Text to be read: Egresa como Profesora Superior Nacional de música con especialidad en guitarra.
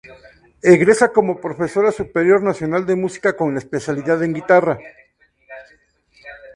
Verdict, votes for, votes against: accepted, 4, 0